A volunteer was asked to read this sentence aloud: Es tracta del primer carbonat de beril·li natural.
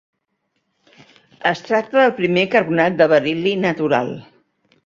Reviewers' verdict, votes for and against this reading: accepted, 2, 1